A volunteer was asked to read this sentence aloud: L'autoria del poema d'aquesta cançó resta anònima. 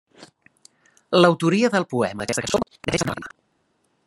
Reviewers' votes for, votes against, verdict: 0, 2, rejected